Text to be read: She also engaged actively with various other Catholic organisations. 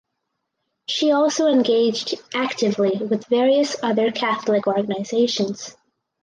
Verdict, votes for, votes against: accepted, 4, 0